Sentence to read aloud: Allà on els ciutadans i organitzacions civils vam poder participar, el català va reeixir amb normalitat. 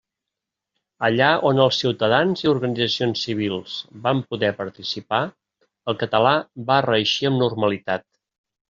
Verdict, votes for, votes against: accepted, 2, 0